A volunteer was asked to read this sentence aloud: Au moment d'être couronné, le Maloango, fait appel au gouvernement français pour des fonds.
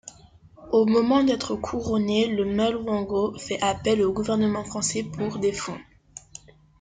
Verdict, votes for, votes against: rejected, 0, 2